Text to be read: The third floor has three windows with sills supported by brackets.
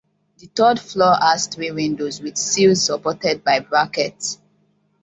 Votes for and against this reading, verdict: 2, 0, accepted